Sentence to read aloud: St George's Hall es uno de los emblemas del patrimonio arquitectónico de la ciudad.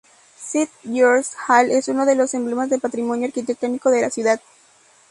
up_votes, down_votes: 2, 2